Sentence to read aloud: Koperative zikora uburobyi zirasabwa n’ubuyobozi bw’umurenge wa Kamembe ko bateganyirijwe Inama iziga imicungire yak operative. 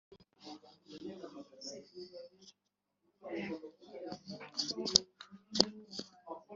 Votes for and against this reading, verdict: 0, 2, rejected